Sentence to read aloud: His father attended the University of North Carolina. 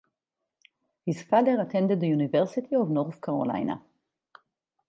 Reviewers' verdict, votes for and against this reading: accepted, 4, 0